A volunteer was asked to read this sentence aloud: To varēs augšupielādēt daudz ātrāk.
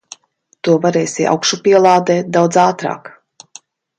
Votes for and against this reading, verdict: 0, 2, rejected